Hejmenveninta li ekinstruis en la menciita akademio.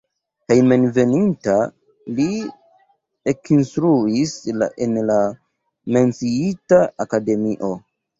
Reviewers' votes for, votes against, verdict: 0, 2, rejected